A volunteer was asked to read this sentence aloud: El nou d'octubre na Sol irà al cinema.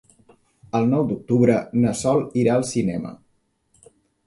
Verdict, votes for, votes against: accepted, 3, 0